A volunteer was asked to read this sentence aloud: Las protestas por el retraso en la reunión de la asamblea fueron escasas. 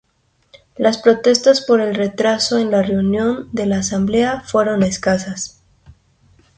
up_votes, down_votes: 2, 0